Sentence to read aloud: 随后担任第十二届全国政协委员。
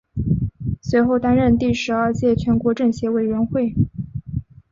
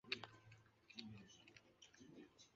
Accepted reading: first